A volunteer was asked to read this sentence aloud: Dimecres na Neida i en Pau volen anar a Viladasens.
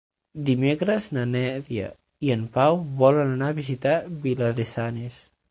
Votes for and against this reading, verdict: 0, 6, rejected